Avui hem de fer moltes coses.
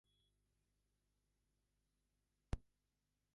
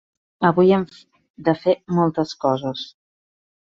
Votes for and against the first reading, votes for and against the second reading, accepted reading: 0, 2, 3, 1, second